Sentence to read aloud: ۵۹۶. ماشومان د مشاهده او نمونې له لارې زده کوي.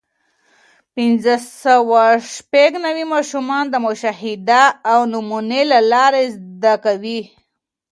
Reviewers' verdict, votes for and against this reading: rejected, 0, 2